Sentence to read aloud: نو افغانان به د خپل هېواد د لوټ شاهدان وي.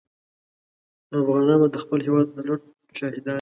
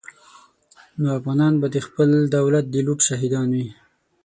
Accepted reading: first